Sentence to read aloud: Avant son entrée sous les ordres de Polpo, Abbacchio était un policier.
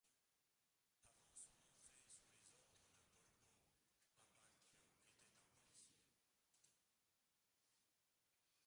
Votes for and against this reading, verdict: 0, 2, rejected